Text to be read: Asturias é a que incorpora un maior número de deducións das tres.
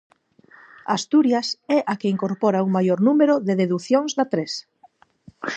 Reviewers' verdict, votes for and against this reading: rejected, 0, 4